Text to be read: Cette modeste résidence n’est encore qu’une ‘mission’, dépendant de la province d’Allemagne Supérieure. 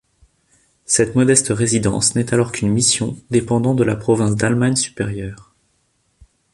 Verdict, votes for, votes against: rejected, 1, 2